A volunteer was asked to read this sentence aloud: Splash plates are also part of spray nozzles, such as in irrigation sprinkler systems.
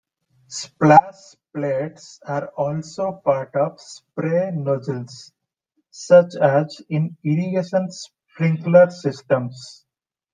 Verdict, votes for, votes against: rejected, 1, 2